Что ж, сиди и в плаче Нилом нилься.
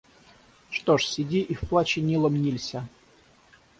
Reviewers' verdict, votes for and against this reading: rejected, 3, 3